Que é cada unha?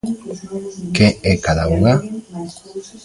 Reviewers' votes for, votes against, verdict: 1, 2, rejected